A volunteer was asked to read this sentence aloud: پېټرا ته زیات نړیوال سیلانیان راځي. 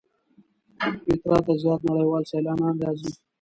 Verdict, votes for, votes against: rejected, 1, 2